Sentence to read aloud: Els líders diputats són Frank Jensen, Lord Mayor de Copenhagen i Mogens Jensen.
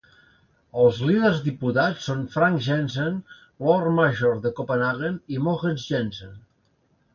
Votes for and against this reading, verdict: 1, 2, rejected